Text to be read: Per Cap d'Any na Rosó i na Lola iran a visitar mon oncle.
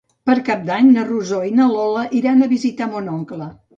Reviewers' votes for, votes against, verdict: 2, 0, accepted